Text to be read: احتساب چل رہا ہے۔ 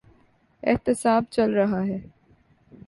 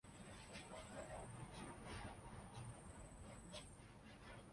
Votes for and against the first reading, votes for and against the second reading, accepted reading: 3, 0, 1, 2, first